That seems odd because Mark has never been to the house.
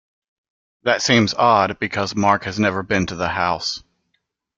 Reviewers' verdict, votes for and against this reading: accepted, 2, 0